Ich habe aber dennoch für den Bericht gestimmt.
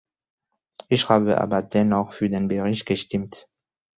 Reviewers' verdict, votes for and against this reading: accepted, 2, 1